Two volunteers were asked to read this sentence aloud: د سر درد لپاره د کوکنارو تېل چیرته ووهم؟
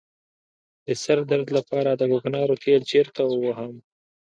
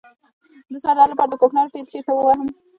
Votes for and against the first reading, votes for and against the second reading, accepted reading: 2, 0, 0, 2, first